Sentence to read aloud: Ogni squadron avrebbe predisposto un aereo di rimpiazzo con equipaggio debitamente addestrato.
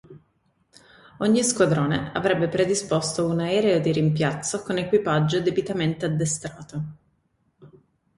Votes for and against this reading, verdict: 1, 2, rejected